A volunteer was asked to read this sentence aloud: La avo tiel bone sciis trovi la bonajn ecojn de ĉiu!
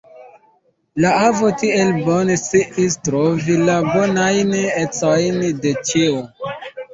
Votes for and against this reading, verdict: 0, 2, rejected